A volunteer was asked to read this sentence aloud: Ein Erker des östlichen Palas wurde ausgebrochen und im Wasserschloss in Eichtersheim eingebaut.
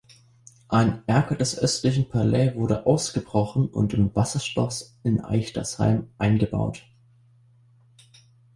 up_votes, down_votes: 1, 2